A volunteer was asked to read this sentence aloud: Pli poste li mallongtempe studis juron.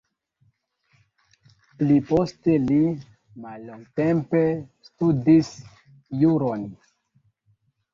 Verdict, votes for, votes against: accepted, 2, 0